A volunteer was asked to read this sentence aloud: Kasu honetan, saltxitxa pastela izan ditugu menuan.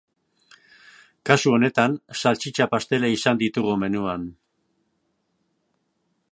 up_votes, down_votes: 2, 0